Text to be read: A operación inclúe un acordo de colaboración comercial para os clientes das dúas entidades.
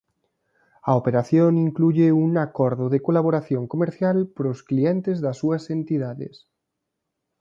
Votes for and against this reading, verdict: 1, 2, rejected